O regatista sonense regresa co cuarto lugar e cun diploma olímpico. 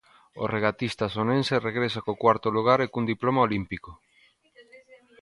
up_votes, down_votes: 0, 2